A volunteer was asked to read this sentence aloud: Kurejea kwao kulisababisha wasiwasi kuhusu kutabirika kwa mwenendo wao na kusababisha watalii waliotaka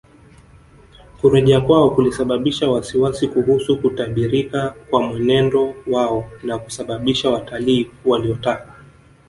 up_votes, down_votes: 1, 2